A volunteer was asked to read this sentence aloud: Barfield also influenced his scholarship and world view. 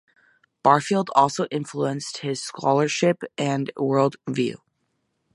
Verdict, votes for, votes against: accepted, 2, 0